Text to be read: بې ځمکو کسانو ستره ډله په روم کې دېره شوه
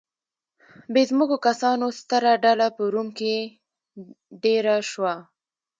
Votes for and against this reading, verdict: 2, 1, accepted